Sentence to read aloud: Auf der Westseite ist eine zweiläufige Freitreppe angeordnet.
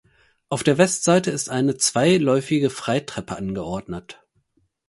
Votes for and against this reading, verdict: 4, 0, accepted